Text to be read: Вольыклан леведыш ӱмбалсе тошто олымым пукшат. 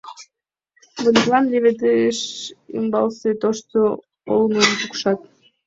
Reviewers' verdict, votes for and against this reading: rejected, 0, 2